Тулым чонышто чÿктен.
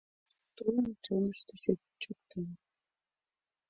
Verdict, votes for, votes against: rejected, 0, 2